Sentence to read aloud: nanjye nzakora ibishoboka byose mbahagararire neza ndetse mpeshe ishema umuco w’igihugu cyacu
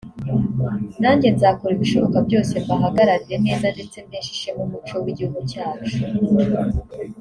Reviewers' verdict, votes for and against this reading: accepted, 3, 0